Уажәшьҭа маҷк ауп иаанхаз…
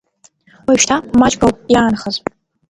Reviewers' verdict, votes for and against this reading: rejected, 1, 2